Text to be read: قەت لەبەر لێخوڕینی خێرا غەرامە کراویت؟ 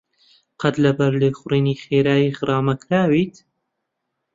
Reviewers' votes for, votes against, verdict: 0, 2, rejected